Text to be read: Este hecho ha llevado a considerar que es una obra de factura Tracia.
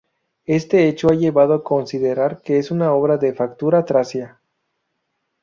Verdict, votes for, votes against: rejected, 0, 2